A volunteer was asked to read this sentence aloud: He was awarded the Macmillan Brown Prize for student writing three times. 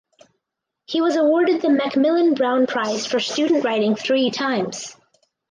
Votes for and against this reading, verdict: 4, 0, accepted